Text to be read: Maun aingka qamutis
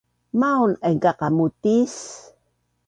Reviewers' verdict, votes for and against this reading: accepted, 2, 0